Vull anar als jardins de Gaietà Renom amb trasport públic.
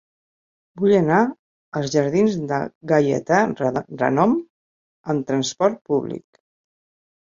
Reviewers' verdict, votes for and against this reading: rejected, 0, 2